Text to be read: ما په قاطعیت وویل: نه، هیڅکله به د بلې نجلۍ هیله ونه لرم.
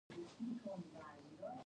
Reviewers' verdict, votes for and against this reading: rejected, 1, 2